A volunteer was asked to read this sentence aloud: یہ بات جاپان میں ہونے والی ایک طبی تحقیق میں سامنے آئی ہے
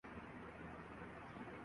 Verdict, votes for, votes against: rejected, 0, 2